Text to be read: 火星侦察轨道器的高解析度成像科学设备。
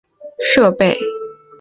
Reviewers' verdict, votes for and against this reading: rejected, 1, 3